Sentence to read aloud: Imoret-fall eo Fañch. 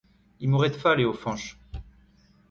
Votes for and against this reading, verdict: 2, 1, accepted